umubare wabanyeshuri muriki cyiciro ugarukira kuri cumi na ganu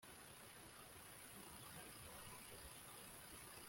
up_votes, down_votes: 0, 2